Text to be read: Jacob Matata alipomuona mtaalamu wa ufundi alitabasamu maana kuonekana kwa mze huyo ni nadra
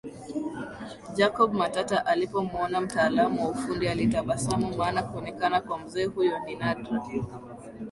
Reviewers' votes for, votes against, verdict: 2, 0, accepted